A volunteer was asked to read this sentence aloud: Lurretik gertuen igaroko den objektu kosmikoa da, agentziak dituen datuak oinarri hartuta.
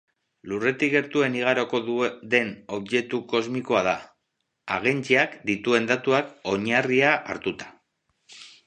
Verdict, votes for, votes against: rejected, 0, 4